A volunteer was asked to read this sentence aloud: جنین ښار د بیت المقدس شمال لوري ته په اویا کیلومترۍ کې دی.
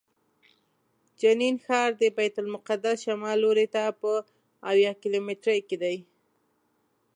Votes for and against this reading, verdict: 2, 0, accepted